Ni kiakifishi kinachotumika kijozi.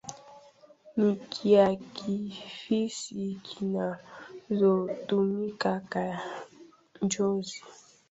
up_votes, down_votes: 1, 2